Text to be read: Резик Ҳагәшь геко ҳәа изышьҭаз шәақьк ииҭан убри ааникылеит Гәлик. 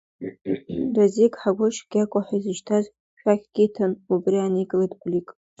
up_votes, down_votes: 1, 2